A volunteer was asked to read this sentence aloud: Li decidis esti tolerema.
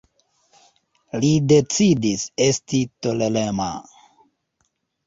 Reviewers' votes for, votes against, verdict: 0, 2, rejected